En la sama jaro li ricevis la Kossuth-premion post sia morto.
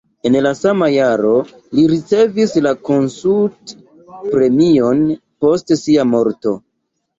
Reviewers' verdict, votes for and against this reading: rejected, 0, 2